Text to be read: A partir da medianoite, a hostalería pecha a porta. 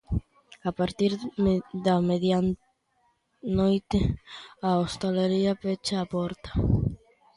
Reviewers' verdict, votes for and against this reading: rejected, 1, 2